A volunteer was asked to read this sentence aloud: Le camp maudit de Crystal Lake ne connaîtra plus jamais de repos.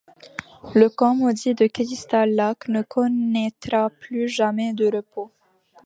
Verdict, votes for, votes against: rejected, 0, 2